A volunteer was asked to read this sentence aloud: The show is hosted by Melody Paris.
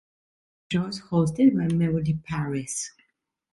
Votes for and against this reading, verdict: 1, 2, rejected